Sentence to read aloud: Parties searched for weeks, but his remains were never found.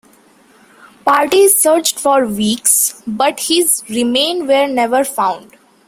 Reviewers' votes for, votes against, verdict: 1, 2, rejected